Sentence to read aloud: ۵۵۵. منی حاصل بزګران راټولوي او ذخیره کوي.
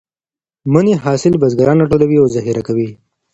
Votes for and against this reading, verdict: 0, 2, rejected